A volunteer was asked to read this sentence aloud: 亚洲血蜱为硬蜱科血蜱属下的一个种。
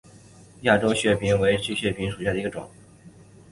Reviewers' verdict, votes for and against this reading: accepted, 2, 1